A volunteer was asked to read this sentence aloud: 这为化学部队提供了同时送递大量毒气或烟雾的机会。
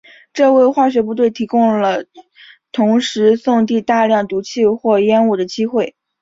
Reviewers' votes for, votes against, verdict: 2, 0, accepted